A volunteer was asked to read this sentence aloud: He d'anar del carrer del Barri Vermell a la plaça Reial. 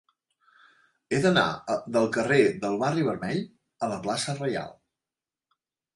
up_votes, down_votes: 3, 0